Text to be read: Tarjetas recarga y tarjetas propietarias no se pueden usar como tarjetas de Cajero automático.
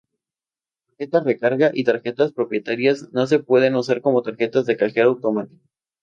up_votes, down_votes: 2, 0